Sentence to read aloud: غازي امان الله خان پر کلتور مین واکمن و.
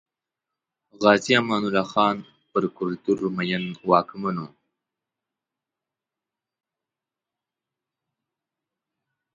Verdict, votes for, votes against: rejected, 1, 2